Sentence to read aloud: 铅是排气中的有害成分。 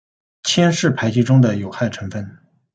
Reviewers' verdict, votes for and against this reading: accepted, 2, 0